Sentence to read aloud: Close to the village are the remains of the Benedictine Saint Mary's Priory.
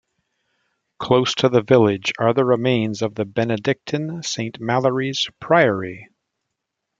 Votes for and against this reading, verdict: 1, 2, rejected